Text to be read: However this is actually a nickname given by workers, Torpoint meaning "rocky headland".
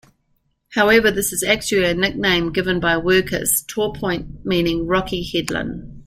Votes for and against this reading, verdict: 3, 0, accepted